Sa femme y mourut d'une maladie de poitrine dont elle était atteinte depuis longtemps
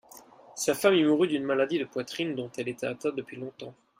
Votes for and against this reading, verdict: 2, 0, accepted